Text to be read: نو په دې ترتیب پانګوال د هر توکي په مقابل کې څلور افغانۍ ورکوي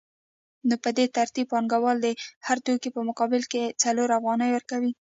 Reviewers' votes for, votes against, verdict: 0, 2, rejected